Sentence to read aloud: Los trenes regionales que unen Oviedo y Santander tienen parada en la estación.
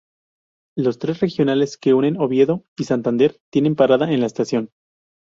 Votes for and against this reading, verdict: 4, 0, accepted